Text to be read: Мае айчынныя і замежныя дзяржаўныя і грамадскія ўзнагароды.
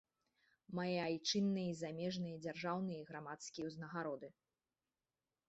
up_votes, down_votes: 1, 2